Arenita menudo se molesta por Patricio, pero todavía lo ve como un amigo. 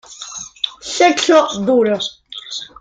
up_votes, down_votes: 0, 2